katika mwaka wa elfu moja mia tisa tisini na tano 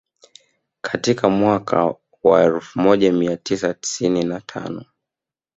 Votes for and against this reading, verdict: 9, 1, accepted